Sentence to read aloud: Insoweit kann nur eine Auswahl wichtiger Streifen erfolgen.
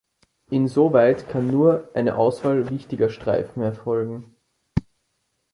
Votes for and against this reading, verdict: 2, 0, accepted